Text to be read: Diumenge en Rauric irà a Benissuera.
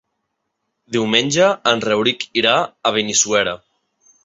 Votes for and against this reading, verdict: 3, 0, accepted